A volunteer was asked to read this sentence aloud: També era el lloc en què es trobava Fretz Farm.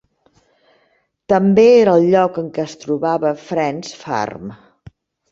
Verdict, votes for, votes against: rejected, 1, 2